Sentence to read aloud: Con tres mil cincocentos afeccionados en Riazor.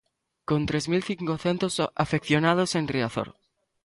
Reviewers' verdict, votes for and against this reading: rejected, 0, 2